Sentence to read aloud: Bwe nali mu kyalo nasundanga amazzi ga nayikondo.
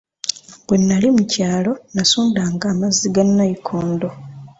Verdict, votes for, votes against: accepted, 2, 0